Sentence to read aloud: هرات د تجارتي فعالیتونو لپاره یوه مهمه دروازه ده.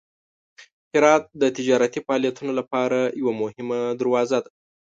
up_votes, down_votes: 2, 0